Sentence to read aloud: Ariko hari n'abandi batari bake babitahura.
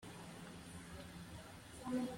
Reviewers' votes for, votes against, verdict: 0, 2, rejected